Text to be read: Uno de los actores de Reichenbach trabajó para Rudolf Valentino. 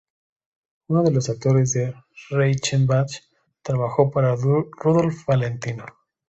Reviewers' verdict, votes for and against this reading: rejected, 0, 2